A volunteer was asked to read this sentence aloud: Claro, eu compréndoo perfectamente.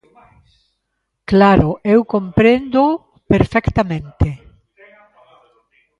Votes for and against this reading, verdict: 1, 2, rejected